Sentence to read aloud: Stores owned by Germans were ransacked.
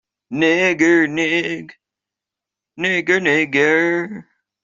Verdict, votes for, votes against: rejected, 0, 2